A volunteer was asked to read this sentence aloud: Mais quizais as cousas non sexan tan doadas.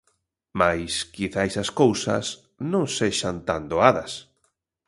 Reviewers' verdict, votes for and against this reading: accepted, 3, 0